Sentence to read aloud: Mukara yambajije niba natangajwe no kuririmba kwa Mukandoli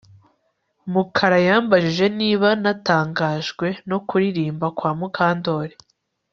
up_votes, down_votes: 2, 0